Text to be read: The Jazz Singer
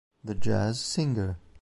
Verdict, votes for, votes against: accepted, 2, 0